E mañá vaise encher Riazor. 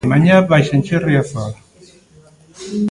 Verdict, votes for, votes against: rejected, 1, 2